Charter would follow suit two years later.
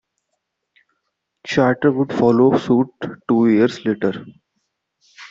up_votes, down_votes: 2, 0